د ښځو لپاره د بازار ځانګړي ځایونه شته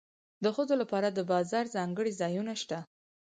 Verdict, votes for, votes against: accepted, 4, 0